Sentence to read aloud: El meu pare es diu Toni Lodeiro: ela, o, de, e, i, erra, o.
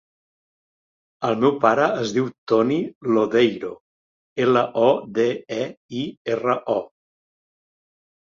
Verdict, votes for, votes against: accepted, 2, 0